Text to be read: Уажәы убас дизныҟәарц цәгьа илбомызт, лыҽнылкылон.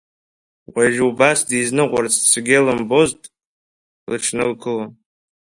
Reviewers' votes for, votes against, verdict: 1, 2, rejected